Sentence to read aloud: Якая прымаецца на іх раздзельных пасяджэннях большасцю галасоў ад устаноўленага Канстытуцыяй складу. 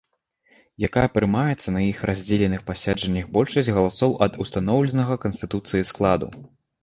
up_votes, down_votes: 1, 2